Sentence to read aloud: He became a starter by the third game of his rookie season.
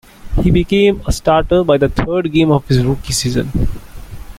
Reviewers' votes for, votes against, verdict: 2, 0, accepted